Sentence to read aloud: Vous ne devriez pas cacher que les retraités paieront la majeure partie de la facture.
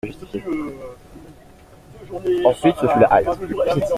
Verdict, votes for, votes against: rejected, 0, 2